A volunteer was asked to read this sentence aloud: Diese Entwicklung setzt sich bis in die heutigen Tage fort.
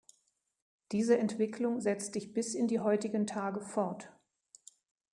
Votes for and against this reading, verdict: 0, 2, rejected